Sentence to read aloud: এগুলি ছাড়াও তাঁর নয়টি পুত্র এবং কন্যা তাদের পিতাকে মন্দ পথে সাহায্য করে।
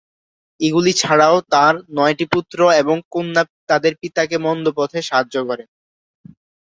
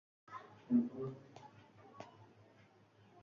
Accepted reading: first